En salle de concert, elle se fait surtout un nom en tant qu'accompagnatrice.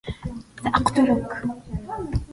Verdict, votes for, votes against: rejected, 0, 2